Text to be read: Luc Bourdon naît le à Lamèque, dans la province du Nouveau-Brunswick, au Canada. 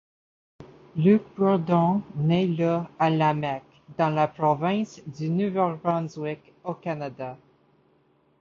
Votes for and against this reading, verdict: 2, 0, accepted